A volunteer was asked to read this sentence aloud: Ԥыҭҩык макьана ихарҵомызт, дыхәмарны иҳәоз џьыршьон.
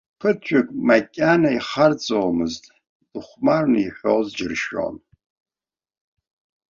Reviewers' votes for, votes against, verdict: 1, 3, rejected